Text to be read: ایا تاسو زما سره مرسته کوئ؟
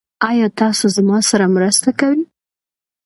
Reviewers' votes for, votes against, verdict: 2, 0, accepted